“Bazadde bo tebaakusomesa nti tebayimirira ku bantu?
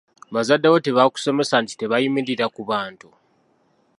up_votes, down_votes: 2, 0